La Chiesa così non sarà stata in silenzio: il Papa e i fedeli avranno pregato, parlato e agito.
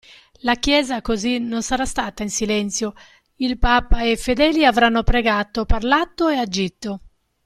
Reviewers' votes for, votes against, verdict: 2, 0, accepted